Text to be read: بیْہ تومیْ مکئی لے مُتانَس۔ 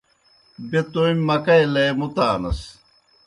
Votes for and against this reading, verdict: 2, 0, accepted